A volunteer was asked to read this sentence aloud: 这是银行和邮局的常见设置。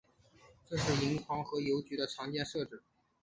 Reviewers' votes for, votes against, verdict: 1, 2, rejected